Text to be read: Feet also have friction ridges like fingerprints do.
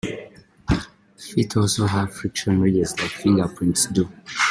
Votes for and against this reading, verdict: 1, 2, rejected